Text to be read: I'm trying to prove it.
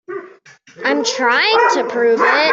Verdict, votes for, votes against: rejected, 0, 2